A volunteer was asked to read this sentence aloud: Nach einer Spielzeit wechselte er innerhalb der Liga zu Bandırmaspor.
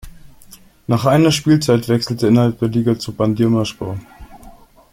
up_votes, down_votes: 2, 0